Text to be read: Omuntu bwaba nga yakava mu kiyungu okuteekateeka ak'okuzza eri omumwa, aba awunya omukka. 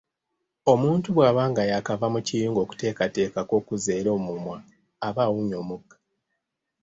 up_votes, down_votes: 1, 2